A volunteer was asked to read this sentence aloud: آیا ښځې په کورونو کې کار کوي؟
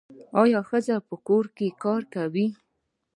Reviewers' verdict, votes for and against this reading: accepted, 2, 1